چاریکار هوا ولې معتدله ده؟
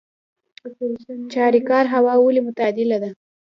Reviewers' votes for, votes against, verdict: 1, 2, rejected